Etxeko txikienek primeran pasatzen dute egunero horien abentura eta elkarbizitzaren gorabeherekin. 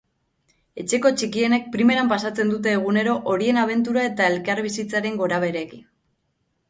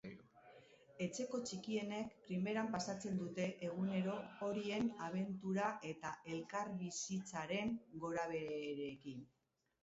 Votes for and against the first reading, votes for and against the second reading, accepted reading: 2, 0, 0, 2, first